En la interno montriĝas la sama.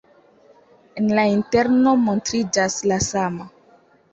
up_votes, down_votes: 2, 0